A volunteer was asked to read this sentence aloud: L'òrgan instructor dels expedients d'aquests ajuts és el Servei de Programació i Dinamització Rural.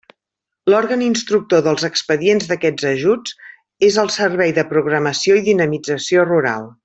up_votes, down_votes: 3, 0